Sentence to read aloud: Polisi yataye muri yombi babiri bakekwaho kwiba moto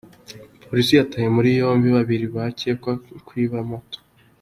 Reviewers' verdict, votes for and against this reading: accepted, 2, 0